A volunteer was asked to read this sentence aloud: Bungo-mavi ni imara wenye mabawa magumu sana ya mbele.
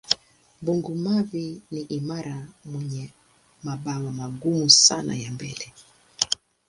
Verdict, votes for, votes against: accepted, 2, 0